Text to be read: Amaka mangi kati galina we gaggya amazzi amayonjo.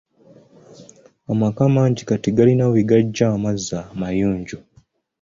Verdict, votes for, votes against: accepted, 2, 0